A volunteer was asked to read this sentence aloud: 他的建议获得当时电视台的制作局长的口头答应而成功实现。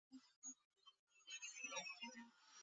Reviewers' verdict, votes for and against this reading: rejected, 0, 7